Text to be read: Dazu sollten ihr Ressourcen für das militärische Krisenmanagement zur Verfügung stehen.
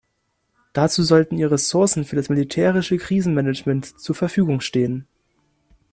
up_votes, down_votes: 2, 0